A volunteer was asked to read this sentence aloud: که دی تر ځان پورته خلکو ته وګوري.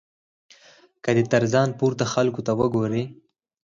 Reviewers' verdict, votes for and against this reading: accepted, 4, 0